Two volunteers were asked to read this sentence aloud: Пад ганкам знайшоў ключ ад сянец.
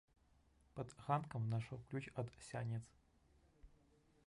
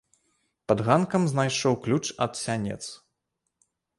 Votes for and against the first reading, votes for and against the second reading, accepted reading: 1, 2, 2, 0, second